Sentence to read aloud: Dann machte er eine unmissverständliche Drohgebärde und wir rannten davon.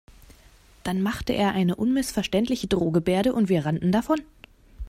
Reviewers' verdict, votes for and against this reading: accepted, 2, 0